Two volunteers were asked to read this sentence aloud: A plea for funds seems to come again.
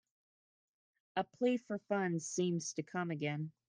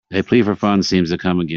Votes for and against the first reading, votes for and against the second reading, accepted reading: 2, 0, 1, 2, first